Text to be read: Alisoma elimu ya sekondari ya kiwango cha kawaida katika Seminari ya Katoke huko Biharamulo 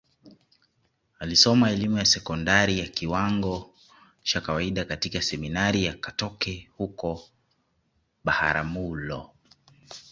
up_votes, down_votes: 1, 2